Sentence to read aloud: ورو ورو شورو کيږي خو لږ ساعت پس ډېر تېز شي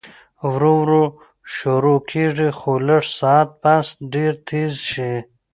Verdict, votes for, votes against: accepted, 2, 0